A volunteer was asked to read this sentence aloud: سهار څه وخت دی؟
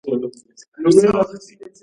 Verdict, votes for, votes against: rejected, 1, 2